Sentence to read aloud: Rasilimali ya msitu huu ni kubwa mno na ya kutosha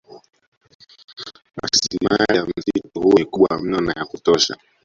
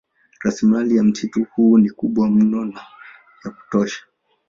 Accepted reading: second